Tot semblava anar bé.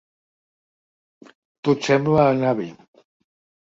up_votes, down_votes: 1, 3